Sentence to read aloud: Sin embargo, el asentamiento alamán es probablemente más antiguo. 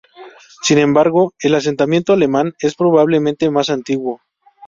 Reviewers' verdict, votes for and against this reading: rejected, 0, 2